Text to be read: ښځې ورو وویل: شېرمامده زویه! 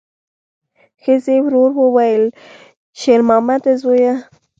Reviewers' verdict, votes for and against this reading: rejected, 0, 2